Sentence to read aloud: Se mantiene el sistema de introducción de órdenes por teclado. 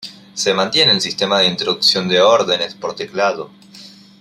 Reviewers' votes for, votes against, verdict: 2, 0, accepted